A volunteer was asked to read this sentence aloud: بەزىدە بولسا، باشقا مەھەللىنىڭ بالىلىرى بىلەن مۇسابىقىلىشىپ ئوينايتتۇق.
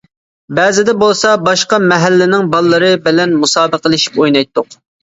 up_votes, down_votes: 2, 0